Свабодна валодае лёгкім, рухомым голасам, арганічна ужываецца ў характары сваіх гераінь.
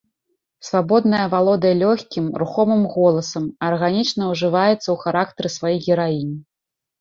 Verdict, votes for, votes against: rejected, 1, 2